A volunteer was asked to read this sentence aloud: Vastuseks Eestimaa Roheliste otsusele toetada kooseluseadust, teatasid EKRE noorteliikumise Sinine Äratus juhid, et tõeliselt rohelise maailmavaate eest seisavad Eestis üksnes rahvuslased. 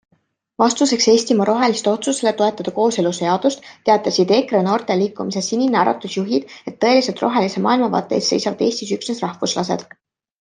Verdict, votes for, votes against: accepted, 3, 0